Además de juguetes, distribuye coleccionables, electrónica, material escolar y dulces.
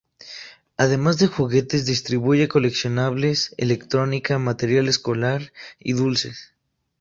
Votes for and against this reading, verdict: 2, 0, accepted